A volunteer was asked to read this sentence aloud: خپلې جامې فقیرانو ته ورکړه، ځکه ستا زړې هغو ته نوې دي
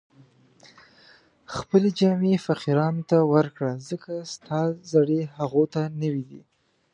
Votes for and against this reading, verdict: 2, 0, accepted